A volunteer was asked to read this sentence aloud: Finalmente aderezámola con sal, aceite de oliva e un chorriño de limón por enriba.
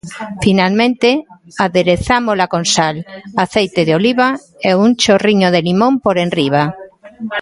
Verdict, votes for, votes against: rejected, 1, 2